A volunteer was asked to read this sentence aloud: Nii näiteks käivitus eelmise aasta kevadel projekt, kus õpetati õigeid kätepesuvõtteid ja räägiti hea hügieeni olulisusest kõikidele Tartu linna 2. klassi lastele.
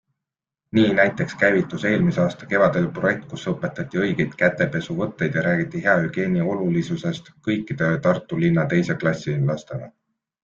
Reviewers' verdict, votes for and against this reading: rejected, 0, 2